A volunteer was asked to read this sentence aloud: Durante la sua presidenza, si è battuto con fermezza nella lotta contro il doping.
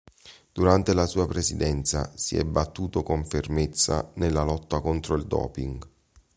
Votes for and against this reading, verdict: 2, 0, accepted